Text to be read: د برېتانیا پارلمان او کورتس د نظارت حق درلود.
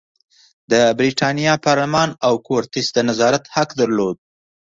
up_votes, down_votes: 2, 0